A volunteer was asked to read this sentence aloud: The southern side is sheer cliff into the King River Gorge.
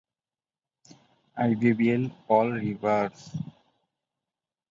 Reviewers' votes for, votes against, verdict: 0, 14, rejected